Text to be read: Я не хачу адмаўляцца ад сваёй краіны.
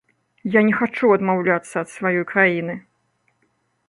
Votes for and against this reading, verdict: 0, 2, rejected